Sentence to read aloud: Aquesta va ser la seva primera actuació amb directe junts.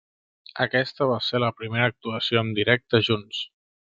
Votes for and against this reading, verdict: 0, 2, rejected